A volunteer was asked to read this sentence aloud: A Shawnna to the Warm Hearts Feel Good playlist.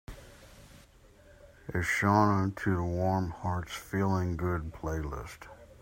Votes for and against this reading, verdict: 0, 2, rejected